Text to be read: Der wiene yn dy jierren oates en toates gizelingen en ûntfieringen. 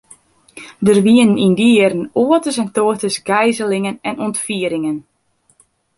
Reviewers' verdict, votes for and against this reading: rejected, 0, 2